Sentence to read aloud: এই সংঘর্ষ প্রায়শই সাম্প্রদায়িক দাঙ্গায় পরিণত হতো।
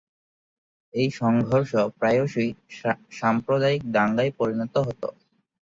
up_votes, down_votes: 0, 2